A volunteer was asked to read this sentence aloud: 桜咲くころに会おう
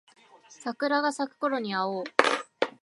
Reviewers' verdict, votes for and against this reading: rejected, 1, 2